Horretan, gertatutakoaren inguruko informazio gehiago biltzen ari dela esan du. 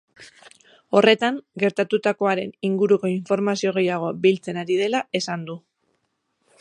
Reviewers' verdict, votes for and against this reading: accepted, 4, 0